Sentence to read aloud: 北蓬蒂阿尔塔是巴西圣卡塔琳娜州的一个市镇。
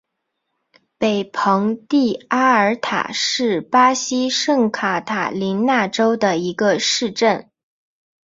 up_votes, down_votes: 8, 0